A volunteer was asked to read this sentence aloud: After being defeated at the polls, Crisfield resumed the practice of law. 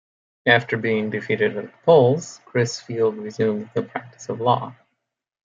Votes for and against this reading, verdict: 2, 0, accepted